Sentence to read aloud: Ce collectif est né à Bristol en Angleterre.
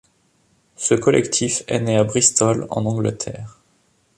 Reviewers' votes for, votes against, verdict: 2, 0, accepted